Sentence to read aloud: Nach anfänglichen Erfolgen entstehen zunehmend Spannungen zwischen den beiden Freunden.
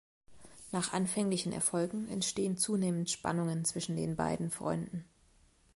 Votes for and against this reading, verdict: 2, 0, accepted